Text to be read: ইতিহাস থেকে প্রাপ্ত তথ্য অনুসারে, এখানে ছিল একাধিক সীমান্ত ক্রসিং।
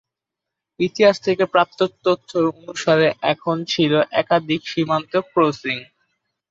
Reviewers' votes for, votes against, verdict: 0, 2, rejected